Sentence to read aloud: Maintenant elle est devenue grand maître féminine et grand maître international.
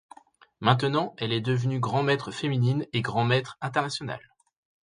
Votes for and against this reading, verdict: 3, 0, accepted